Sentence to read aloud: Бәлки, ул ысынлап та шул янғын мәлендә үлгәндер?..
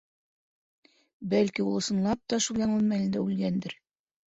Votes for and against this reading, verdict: 2, 3, rejected